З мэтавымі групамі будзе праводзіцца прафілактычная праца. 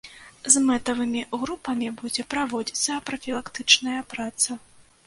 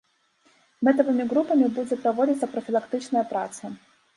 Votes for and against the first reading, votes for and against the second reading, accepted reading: 2, 0, 1, 2, first